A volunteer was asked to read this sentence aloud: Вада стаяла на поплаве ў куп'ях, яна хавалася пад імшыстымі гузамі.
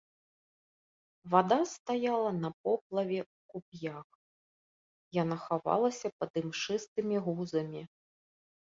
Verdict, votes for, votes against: accepted, 3, 0